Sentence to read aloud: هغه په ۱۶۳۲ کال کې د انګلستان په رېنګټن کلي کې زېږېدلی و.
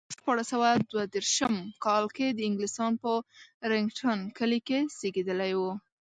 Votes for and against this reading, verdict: 0, 2, rejected